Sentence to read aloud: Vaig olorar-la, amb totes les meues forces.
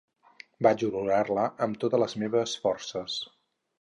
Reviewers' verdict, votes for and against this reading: rejected, 0, 4